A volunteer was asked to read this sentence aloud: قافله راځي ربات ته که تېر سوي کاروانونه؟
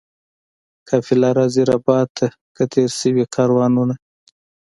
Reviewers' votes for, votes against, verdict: 3, 0, accepted